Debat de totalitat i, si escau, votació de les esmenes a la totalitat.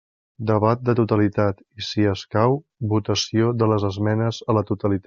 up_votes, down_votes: 0, 2